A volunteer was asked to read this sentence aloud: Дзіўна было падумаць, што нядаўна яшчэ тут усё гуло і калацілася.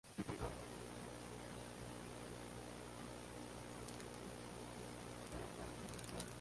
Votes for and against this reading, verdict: 0, 2, rejected